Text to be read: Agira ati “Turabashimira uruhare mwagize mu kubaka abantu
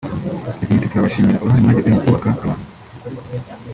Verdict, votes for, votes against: rejected, 1, 2